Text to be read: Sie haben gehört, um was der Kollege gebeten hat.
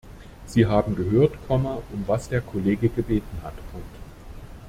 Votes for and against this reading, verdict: 0, 2, rejected